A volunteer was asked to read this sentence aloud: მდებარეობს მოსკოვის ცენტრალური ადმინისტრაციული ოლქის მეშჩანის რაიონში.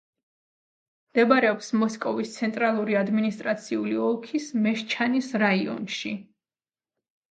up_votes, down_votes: 2, 0